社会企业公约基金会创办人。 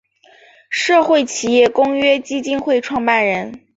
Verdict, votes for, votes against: accepted, 3, 0